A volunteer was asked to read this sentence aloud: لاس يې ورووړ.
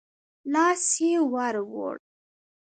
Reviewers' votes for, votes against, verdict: 2, 0, accepted